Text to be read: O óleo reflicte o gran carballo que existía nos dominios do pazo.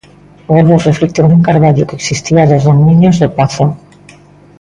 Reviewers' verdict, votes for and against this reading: rejected, 0, 2